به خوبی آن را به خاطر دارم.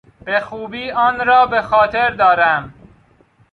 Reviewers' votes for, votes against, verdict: 2, 0, accepted